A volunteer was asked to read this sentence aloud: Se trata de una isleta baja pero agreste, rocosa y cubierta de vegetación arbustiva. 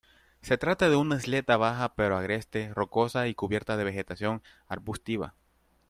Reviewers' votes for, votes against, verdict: 2, 1, accepted